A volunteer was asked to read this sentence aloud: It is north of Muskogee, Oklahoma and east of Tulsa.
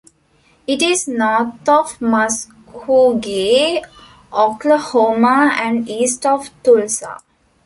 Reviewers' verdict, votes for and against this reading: rejected, 1, 2